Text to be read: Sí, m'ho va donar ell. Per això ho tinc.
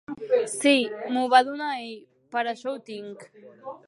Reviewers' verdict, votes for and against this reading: accepted, 3, 0